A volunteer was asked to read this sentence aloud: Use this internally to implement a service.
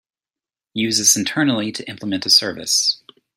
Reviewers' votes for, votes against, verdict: 2, 0, accepted